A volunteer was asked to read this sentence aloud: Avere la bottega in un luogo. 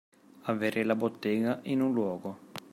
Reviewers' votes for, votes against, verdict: 2, 1, accepted